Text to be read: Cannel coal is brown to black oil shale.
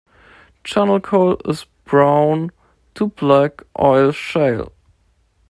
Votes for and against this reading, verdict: 1, 2, rejected